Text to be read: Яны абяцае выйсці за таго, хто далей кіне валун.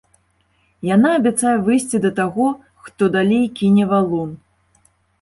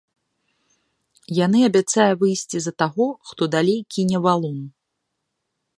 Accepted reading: second